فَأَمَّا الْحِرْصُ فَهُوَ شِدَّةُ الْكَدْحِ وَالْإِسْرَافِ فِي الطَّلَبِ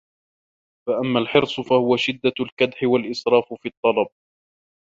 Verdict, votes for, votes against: accepted, 2, 0